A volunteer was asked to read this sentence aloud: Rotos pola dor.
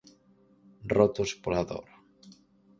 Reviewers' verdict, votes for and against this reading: accepted, 4, 0